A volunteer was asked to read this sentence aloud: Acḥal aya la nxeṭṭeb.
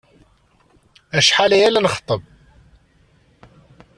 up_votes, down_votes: 2, 0